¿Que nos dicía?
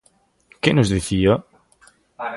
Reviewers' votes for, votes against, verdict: 1, 2, rejected